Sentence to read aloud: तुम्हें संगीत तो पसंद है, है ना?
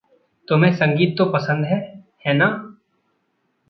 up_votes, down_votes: 2, 0